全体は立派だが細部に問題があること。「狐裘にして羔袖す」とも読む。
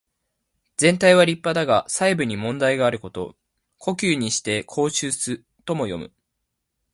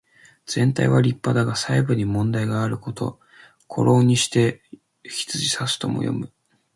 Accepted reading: first